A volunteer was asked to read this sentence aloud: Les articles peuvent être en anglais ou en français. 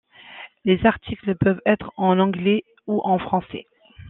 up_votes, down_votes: 2, 0